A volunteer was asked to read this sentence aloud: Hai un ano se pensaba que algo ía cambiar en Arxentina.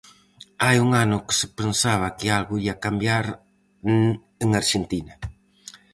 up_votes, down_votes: 0, 4